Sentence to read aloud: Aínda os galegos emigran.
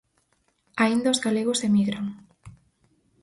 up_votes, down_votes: 4, 0